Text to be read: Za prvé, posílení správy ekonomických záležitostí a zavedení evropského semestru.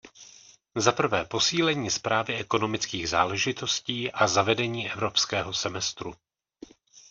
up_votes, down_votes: 1, 2